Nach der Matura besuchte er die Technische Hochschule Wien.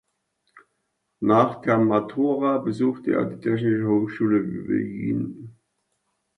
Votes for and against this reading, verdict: 1, 2, rejected